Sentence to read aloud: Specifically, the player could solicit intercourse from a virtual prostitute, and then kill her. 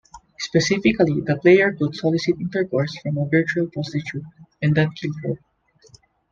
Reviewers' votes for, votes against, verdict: 2, 0, accepted